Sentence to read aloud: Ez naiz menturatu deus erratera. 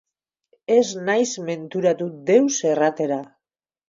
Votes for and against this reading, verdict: 2, 2, rejected